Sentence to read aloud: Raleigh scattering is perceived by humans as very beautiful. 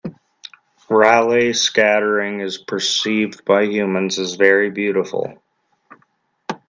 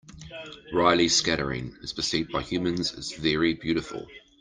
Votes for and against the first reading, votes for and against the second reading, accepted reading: 2, 0, 1, 2, first